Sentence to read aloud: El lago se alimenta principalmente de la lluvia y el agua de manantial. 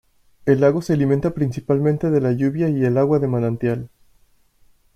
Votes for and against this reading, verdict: 2, 0, accepted